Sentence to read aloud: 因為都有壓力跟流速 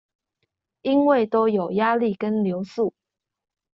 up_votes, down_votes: 2, 0